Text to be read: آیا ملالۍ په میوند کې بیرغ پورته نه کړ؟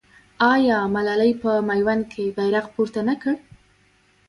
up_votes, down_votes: 1, 2